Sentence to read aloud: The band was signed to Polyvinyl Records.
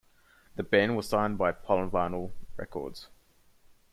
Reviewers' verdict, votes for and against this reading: accepted, 2, 1